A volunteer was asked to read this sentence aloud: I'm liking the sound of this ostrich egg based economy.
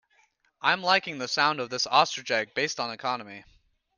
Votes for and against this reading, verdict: 0, 2, rejected